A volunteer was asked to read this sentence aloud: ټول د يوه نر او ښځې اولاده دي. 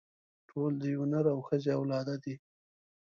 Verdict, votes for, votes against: accepted, 2, 0